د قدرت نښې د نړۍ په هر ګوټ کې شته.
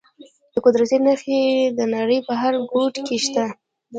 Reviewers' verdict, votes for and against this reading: rejected, 0, 2